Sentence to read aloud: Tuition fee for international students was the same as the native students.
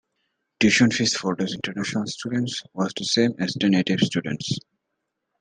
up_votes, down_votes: 0, 2